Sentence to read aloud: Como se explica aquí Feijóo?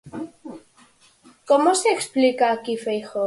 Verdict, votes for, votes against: accepted, 4, 0